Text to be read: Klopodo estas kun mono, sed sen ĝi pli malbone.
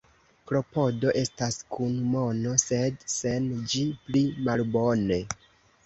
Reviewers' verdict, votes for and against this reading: accepted, 3, 0